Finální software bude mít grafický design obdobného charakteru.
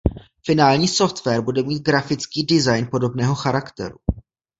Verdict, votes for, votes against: rejected, 1, 2